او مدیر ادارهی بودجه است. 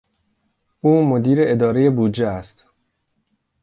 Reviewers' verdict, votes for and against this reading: accepted, 2, 0